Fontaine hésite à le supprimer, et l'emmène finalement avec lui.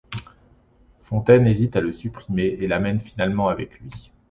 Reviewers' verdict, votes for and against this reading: rejected, 0, 2